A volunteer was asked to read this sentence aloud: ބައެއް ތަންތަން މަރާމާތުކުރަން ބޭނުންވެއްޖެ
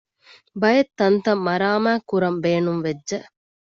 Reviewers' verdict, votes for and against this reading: rejected, 1, 2